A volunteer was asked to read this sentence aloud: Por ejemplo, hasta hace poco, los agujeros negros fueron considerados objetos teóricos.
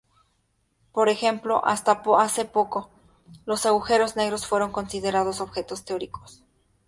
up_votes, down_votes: 4, 0